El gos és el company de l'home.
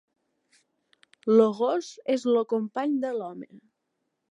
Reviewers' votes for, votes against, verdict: 1, 3, rejected